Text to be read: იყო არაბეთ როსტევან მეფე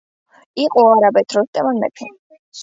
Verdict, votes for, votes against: accepted, 2, 0